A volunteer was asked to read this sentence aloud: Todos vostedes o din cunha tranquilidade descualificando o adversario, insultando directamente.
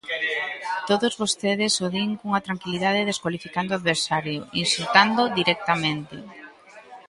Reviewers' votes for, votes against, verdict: 2, 0, accepted